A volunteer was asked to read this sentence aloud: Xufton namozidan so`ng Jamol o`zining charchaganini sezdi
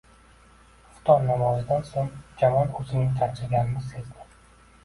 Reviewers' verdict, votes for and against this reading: rejected, 1, 2